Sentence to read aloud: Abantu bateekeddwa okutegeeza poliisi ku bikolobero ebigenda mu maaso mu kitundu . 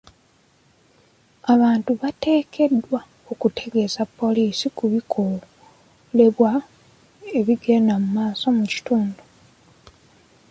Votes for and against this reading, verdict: 2, 0, accepted